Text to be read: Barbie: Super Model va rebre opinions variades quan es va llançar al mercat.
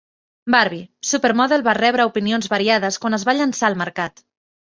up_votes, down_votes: 2, 0